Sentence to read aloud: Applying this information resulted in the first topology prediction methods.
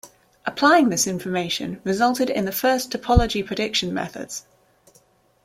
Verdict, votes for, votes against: accepted, 2, 0